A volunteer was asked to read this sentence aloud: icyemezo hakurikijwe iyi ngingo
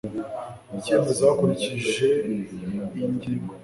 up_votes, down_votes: 1, 2